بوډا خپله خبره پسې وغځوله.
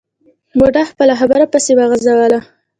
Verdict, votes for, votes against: rejected, 1, 2